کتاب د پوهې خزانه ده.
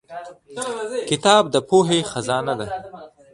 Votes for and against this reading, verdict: 1, 2, rejected